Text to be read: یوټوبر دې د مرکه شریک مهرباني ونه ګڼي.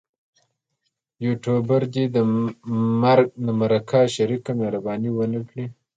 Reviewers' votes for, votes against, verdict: 2, 0, accepted